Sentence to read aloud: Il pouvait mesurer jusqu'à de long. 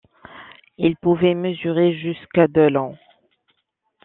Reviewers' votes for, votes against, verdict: 2, 0, accepted